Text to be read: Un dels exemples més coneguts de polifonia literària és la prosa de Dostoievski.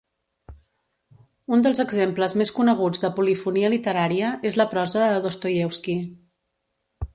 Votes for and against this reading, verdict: 2, 0, accepted